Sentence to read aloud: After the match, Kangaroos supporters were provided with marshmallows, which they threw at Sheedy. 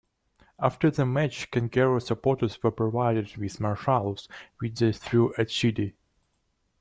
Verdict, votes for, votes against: rejected, 0, 2